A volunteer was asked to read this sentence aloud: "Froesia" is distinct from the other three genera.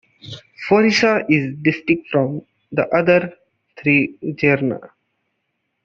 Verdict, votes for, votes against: rejected, 0, 2